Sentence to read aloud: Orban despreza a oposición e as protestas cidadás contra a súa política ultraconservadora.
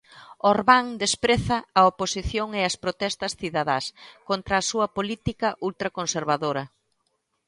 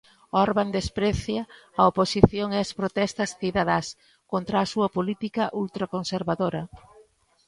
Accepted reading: first